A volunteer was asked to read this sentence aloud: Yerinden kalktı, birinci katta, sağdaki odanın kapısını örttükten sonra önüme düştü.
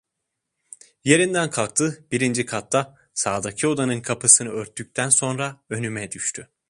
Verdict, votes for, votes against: accepted, 2, 0